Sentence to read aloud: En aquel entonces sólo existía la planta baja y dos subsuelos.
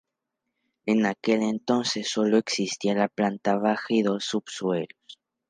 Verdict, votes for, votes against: rejected, 0, 2